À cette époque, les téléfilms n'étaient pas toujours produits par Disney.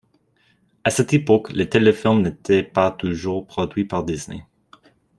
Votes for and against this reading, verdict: 2, 0, accepted